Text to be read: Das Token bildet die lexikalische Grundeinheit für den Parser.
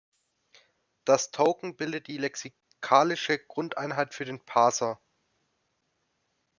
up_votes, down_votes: 2, 0